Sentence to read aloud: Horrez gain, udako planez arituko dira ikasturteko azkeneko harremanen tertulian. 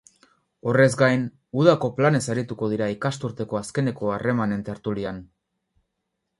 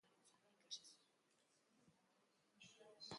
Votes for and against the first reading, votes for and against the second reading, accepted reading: 4, 0, 1, 2, first